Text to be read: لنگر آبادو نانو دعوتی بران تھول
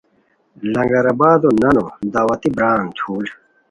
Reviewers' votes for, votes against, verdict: 2, 0, accepted